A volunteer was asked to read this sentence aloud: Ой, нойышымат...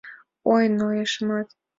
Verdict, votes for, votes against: accepted, 2, 0